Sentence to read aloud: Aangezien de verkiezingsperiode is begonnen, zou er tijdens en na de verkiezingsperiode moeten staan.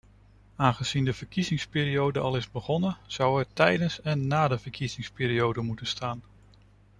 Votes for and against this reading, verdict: 0, 2, rejected